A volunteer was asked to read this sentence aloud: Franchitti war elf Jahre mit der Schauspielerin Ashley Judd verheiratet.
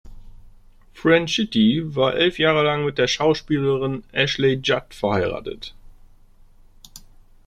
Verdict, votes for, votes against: rejected, 0, 2